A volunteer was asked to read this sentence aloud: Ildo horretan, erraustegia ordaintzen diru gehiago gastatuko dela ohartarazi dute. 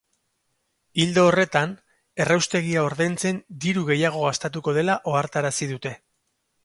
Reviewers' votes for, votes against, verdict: 2, 2, rejected